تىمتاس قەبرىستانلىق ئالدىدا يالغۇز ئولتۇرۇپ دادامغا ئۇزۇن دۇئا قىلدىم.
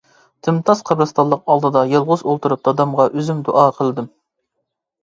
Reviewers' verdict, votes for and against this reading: rejected, 0, 2